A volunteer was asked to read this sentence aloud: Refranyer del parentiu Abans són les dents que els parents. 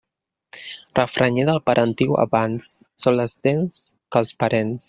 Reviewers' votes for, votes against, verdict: 0, 2, rejected